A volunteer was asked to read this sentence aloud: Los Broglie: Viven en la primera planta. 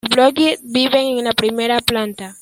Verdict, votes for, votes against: rejected, 1, 2